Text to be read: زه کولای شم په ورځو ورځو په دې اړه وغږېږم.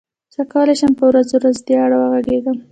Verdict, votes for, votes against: accepted, 2, 0